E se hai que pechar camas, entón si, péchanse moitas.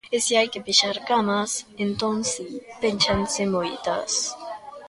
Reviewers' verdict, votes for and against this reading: rejected, 1, 2